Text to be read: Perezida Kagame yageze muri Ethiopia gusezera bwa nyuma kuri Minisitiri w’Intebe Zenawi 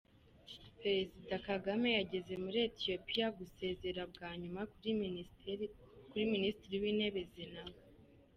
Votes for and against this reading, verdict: 0, 2, rejected